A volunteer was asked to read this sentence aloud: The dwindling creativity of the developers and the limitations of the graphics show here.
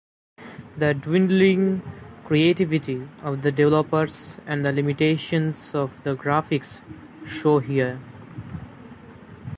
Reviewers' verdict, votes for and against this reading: accepted, 2, 1